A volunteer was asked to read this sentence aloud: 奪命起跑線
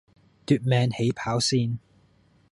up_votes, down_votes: 1, 2